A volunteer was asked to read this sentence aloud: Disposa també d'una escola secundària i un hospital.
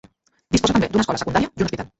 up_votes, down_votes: 1, 2